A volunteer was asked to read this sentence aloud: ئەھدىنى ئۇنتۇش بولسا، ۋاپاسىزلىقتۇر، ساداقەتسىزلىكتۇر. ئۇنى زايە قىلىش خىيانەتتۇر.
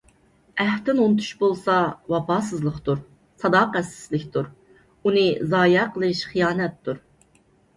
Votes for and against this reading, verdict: 2, 0, accepted